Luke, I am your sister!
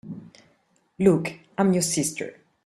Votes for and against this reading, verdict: 2, 0, accepted